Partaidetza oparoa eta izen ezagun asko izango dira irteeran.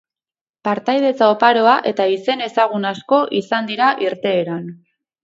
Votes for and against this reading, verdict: 0, 4, rejected